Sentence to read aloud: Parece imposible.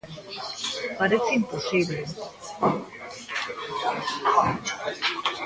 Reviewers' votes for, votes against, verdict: 0, 2, rejected